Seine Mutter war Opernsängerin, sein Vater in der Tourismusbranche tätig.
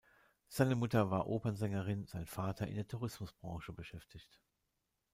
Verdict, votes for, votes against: rejected, 0, 2